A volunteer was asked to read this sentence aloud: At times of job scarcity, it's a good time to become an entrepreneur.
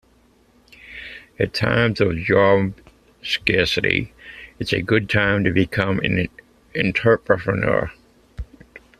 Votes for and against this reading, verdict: 0, 2, rejected